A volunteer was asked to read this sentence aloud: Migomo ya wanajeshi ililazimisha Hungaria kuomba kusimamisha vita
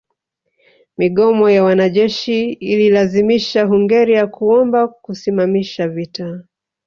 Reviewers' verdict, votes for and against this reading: accepted, 2, 1